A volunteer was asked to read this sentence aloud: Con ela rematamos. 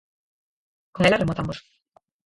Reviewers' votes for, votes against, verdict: 0, 4, rejected